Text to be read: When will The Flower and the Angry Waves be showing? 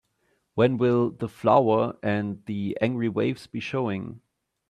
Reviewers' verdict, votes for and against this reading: accepted, 2, 0